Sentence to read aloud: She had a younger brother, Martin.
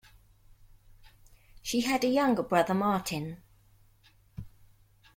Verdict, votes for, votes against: accepted, 2, 0